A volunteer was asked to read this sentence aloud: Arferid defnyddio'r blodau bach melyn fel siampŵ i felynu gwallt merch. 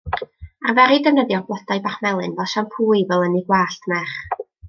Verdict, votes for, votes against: rejected, 0, 2